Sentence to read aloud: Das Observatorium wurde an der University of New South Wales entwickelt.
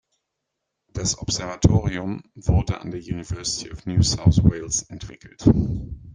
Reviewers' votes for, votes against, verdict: 2, 0, accepted